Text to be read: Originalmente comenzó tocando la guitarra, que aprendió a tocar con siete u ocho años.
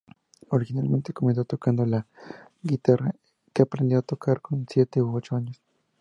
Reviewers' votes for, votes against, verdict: 0, 2, rejected